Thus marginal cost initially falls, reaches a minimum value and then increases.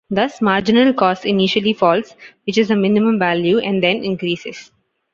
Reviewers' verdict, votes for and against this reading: accepted, 2, 0